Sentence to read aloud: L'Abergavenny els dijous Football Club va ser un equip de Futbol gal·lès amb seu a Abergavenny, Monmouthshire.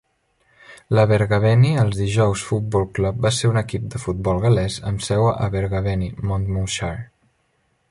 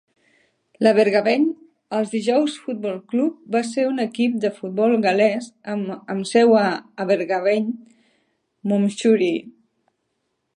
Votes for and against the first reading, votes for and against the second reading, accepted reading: 2, 0, 0, 2, first